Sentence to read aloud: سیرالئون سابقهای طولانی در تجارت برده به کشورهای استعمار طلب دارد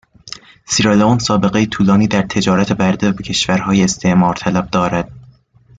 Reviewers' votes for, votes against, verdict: 2, 0, accepted